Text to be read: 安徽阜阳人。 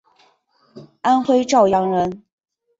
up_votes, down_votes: 4, 0